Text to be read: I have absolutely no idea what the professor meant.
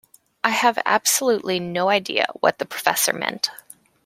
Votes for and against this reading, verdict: 2, 0, accepted